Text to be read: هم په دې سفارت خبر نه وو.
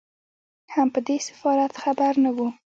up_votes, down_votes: 0, 2